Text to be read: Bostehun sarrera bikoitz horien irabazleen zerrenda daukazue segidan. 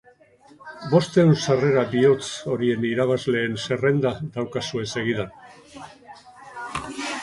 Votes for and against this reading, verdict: 0, 4, rejected